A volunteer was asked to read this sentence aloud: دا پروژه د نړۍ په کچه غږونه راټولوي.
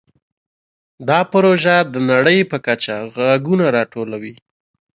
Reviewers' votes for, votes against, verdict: 2, 0, accepted